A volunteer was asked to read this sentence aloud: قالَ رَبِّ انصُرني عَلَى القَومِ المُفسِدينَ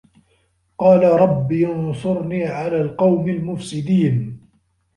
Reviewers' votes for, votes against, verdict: 1, 2, rejected